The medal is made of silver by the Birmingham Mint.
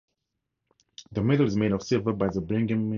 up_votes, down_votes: 0, 2